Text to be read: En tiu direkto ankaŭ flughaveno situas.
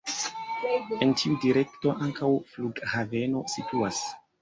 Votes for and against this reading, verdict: 1, 2, rejected